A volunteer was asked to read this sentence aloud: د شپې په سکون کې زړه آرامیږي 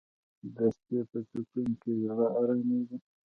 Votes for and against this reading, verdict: 1, 2, rejected